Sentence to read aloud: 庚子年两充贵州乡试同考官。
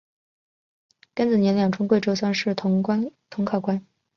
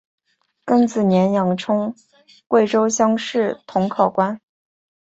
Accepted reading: second